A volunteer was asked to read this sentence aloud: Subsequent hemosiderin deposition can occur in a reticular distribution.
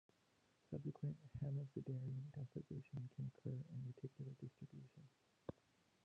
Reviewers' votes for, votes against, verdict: 0, 2, rejected